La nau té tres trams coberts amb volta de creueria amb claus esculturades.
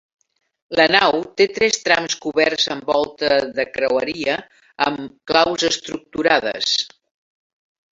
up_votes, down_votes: 0, 2